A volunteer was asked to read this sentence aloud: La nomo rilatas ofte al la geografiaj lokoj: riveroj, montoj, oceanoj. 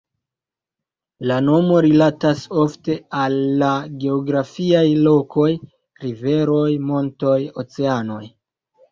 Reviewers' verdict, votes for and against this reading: accepted, 2, 0